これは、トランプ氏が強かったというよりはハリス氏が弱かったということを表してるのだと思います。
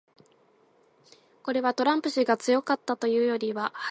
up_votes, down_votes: 0, 2